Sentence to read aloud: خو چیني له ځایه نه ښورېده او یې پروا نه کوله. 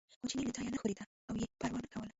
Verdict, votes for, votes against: rejected, 1, 2